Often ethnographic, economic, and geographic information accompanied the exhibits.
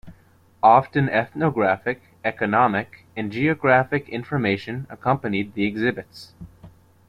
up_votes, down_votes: 2, 0